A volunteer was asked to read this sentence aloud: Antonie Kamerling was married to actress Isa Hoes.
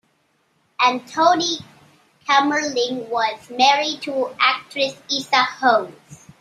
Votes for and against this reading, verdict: 0, 2, rejected